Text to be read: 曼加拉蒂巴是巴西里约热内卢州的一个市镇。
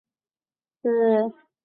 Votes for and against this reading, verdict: 0, 5, rejected